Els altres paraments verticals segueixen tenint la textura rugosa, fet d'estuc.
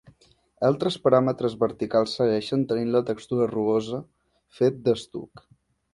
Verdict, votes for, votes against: rejected, 0, 2